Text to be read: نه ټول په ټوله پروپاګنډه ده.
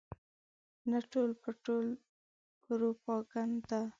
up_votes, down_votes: 1, 2